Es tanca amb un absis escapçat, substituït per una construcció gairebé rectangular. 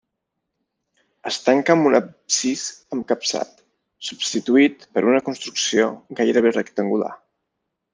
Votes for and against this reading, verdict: 0, 2, rejected